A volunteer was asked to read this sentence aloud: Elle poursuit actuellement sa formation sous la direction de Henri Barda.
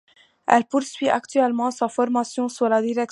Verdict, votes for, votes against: rejected, 0, 2